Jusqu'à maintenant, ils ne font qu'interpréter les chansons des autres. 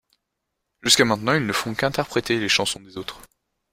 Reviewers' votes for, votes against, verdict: 1, 2, rejected